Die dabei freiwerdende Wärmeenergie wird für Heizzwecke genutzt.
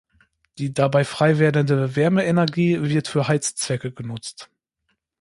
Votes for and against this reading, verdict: 1, 2, rejected